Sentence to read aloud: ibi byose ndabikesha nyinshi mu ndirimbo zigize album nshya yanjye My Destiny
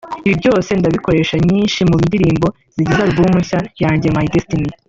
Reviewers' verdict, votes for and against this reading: rejected, 1, 2